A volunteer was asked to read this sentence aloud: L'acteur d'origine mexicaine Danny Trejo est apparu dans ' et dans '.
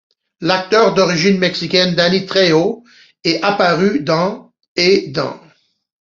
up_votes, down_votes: 2, 1